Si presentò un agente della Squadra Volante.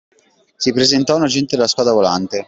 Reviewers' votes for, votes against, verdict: 2, 0, accepted